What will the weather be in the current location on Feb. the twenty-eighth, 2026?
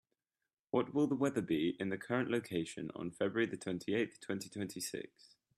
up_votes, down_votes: 0, 2